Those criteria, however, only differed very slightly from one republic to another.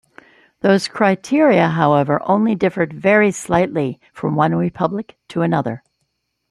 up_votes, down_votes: 2, 0